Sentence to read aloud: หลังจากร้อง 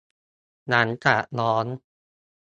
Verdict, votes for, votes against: accepted, 2, 1